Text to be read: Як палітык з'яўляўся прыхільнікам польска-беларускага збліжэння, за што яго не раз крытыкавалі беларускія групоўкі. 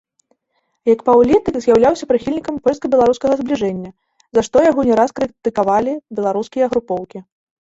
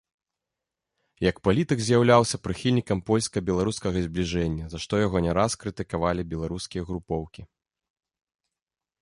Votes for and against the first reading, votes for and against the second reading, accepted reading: 1, 2, 2, 0, second